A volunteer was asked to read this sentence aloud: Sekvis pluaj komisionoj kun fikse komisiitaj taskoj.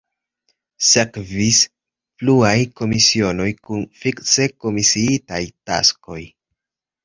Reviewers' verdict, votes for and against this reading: accepted, 2, 0